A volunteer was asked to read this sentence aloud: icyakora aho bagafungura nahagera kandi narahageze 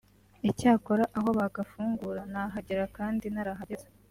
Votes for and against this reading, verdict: 2, 0, accepted